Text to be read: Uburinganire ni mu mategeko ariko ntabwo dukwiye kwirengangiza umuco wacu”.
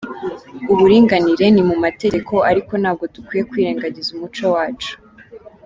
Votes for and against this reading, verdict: 2, 1, accepted